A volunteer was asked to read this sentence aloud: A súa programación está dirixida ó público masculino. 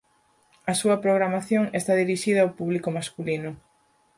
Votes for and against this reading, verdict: 4, 0, accepted